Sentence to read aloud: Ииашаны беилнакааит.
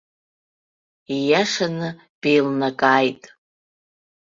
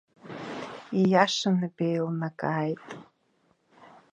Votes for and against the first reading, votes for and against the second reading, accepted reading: 2, 0, 1, 2, first